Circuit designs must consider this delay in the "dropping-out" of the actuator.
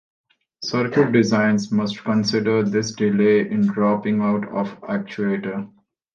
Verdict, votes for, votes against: rejected, 0, 2